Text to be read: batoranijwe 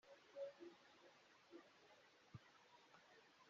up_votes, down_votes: 0, 2